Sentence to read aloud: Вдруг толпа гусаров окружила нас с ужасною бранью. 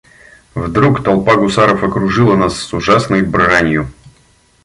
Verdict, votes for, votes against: rejected, 0, 2